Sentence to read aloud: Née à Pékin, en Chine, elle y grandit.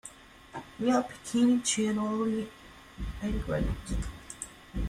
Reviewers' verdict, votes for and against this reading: rejected, 0, 3